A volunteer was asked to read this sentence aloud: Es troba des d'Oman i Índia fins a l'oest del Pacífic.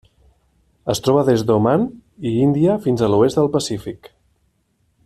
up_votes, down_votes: 2, 0